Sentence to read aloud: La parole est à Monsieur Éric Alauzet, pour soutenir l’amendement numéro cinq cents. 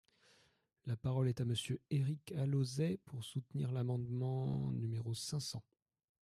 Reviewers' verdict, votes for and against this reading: accepted, 3, 0